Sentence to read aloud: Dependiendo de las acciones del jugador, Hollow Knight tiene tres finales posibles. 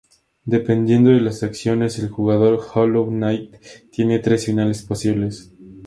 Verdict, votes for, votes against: accepted, 2, 0